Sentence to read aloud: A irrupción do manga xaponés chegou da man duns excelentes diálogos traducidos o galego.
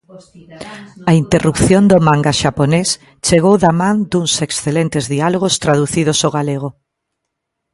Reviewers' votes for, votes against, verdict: 1, 2, rejected